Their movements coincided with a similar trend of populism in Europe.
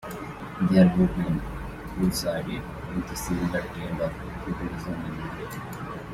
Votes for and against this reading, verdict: 2, 0, accepted